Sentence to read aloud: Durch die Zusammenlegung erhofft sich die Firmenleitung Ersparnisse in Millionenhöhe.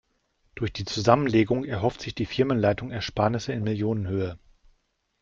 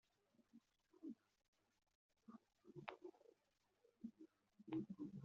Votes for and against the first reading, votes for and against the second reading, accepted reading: 2, 0, 0, 3, first